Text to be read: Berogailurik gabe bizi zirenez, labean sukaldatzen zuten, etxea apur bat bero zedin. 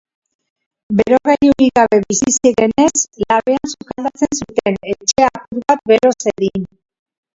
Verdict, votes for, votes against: rejected, 0, 3